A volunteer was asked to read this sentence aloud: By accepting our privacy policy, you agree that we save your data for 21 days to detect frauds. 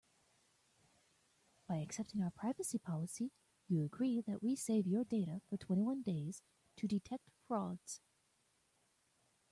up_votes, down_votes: 0, 2